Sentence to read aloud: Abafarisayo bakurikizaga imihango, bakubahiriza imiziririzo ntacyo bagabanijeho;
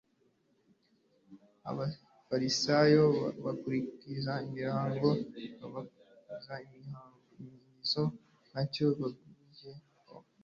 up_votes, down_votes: 1, 2